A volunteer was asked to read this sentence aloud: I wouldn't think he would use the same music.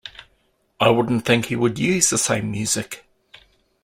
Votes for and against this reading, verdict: 2, 0, accepted